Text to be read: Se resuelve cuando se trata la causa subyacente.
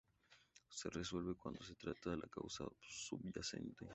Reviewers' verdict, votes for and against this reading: rejected, 0, 2